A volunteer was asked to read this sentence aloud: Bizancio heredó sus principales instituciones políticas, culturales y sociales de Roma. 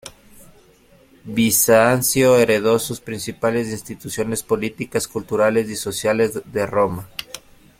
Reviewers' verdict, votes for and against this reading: accepted, 2, 0